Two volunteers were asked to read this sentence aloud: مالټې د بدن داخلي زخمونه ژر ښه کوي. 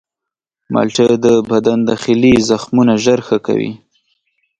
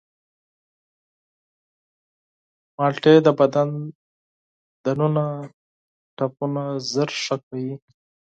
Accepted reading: first